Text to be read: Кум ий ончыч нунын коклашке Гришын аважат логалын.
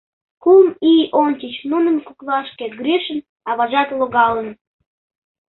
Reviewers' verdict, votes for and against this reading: accepted, 2, 0